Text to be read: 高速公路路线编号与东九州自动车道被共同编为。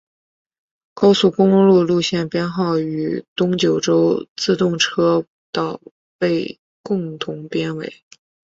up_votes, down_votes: 5, 0